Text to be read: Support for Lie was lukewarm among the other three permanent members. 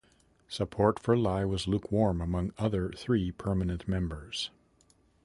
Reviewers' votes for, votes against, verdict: 0, 2, rejected